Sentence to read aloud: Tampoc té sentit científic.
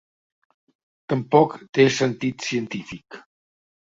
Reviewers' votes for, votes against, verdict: 2, 0, accepted